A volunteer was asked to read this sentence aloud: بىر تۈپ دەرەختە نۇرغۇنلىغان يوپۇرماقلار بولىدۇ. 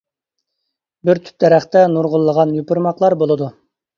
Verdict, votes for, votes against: accepted, 2, 0